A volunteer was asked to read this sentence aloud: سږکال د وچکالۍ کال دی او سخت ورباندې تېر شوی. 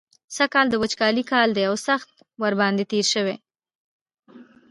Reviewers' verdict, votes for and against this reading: accepted, 2, 0